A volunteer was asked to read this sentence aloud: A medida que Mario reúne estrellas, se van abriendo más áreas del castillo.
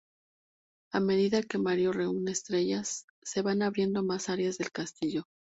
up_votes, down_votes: 2, 0